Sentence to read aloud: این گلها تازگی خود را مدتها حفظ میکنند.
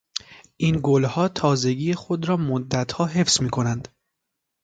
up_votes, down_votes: 2, 0